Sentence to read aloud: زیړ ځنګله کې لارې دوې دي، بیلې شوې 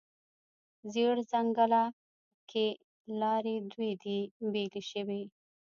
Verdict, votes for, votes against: rejected, 0, 2